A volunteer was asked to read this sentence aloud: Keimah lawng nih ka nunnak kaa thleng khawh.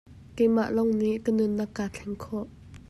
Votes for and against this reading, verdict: 2, 0, accepted